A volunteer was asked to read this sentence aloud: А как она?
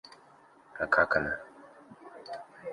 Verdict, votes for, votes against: rejected, 1, 2